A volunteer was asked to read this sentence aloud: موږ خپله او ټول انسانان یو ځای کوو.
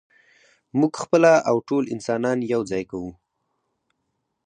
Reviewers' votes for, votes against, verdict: 4, 0, accepted